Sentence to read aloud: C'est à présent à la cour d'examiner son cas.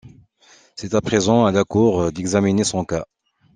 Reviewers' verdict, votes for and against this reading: accepted, 2, 0